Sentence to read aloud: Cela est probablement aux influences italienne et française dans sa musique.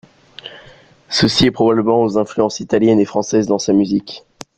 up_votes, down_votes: 1, 2